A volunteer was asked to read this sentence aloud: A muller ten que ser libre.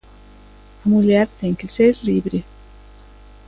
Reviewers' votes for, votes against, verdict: 2, 0, accepted